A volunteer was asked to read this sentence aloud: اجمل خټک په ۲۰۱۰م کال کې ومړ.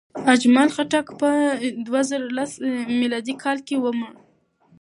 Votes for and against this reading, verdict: 0, 2, rejected